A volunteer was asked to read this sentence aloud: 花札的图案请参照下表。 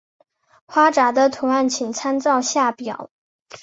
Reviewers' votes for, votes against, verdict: 2, 0, accepted